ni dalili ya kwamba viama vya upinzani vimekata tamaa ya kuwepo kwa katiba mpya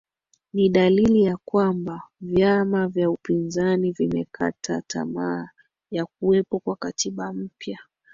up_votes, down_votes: 1, 2